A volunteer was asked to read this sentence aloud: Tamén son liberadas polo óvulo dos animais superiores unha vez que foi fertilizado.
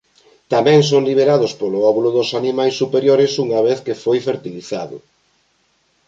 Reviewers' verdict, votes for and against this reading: rejected, 0, 2